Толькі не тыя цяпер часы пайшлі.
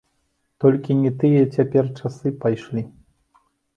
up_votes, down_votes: 2, 0